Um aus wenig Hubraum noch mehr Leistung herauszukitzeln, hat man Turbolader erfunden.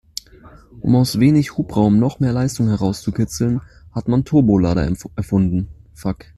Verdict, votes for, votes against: rejected, 1, 2